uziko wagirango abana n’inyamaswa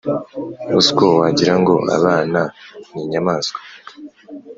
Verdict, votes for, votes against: accepted, 4, 0